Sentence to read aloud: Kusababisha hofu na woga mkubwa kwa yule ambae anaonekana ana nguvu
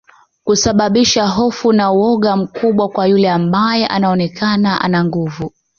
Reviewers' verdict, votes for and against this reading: accepted, 2, 0